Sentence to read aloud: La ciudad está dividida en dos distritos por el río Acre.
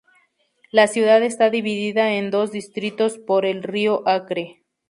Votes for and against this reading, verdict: 2, 0, accepted